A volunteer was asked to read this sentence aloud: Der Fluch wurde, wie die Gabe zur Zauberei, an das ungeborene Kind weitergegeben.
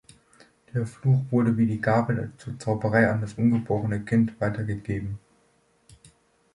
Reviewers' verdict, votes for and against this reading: accepted, 2, 1